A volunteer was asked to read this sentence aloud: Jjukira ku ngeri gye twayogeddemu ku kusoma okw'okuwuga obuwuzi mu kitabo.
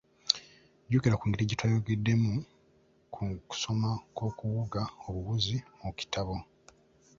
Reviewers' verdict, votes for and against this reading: rejected, 0, 2